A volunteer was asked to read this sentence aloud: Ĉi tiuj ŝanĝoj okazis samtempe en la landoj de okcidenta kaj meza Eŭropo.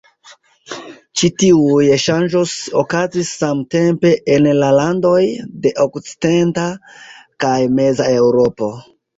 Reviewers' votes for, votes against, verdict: 2, 1, accepted